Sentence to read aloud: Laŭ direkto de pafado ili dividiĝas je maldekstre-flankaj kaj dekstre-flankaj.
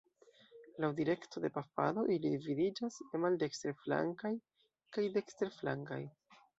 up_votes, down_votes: 1, 2